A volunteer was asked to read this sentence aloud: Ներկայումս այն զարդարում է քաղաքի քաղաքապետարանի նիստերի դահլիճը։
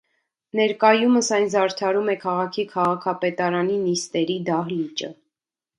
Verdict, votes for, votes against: accepted, 2, 0